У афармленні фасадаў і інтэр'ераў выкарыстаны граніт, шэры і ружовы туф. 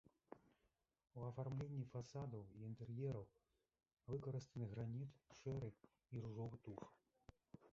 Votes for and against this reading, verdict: 1, 2, rejected